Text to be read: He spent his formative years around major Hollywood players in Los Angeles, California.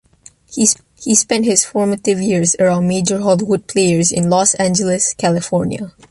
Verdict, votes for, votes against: rejected, 0, 2